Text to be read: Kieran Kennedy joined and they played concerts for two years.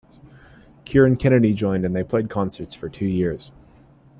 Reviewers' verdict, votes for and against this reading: accepted, 2, 0